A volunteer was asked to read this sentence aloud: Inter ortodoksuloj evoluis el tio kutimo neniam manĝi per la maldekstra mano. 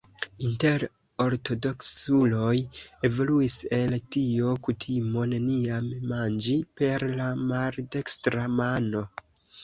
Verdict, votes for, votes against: accepted, 2, 0